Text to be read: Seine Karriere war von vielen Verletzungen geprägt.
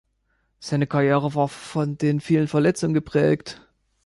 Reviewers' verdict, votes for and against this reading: rejected, 0, 2